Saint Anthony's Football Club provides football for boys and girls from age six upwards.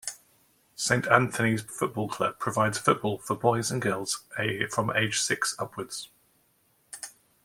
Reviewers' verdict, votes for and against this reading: rejected, 1, 2